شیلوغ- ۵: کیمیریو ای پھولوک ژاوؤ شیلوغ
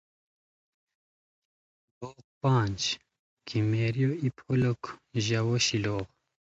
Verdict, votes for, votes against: rejected, 0, 2